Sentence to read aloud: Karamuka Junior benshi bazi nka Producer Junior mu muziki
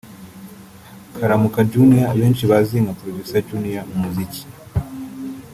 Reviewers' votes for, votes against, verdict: 0, 2, rejected